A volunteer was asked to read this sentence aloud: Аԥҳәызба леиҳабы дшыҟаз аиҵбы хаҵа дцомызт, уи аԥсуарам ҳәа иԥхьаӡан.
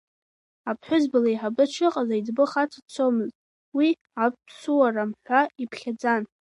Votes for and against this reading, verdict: 2, 3, rejected